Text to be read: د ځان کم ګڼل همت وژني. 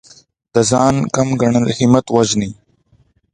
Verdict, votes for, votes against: accepted, 2, 0